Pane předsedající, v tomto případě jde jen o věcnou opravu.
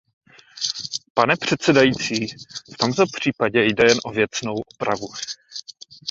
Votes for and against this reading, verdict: 2, 0, accepted